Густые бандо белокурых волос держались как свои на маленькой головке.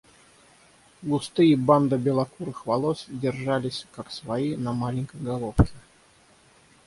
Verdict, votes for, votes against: accepted, 6, 0